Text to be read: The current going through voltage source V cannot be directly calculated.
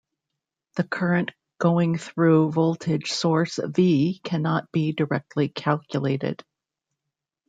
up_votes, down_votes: 1, 2